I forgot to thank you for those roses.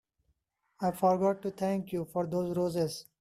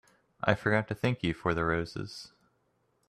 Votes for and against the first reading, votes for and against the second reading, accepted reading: 2, 0, 0, 2, first